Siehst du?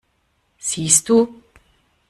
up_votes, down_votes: 2, 0